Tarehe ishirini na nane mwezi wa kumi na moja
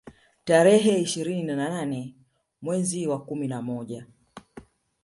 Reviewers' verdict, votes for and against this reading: rejected, 1, 2